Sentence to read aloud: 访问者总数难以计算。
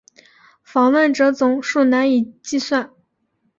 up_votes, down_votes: 2, 0